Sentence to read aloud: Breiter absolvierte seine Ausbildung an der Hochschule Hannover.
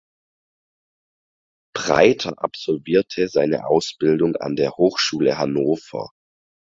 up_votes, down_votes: 4, 0